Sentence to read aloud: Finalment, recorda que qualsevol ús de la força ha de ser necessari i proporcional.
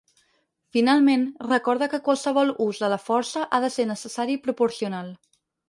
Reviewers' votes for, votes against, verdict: 4, 0, accepted